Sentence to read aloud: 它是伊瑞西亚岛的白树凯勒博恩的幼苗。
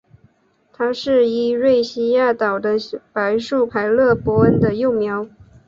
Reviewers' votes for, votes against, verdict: 11, 0, accepted